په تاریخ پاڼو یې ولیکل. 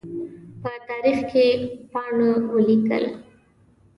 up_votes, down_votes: 0, 2